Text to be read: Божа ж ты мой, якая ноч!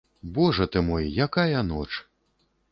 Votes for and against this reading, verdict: 0, 2, rejected